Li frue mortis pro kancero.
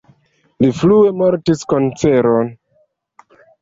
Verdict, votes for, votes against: rejected, 1, 2